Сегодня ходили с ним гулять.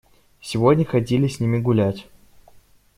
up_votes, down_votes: 0, 2